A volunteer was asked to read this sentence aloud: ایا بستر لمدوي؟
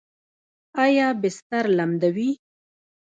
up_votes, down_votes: 1, 2